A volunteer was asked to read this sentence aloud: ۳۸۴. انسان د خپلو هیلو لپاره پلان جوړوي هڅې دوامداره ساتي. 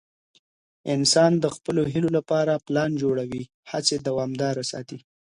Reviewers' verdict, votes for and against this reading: rejected, 0, 2